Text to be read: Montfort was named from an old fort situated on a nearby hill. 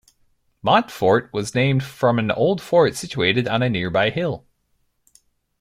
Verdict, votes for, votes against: accepted, 2, 0